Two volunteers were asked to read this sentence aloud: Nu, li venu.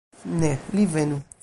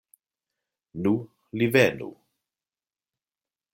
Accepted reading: second